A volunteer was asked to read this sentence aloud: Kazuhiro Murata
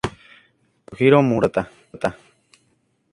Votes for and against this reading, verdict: 0, 2, rejected